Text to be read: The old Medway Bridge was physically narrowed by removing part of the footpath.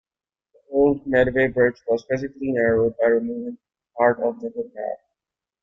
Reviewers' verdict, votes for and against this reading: accepted, 2, 0